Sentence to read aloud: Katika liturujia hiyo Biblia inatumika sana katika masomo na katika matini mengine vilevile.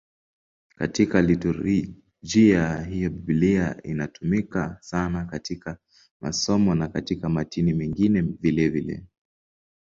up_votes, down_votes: 0, 2